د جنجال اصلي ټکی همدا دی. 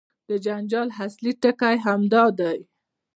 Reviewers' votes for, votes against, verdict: 1, 2, rejected